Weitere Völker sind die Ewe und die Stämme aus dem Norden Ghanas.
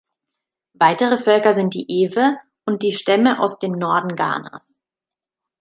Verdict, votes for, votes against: accepted, 2, 0